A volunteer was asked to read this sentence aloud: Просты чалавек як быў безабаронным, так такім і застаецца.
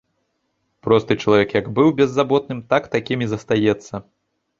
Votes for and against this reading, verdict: 0, 2, rejected